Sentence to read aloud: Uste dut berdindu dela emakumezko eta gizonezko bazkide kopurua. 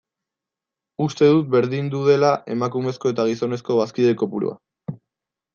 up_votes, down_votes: 2, 0